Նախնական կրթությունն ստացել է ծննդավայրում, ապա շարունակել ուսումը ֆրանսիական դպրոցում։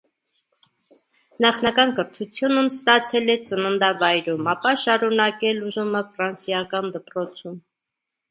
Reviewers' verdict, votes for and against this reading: rejected, 1, 2